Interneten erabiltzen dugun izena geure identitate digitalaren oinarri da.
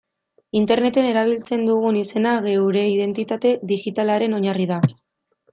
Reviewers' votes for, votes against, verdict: 2, 1, accepted